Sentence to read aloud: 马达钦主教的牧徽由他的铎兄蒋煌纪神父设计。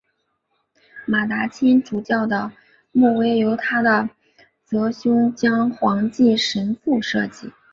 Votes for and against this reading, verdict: 8, 1, accepted